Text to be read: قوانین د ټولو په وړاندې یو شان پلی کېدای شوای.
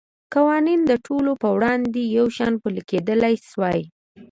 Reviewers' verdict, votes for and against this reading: accepted, 2, 0